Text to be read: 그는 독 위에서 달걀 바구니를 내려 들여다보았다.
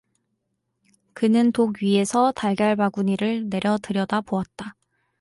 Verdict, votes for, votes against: accepted, 2, 0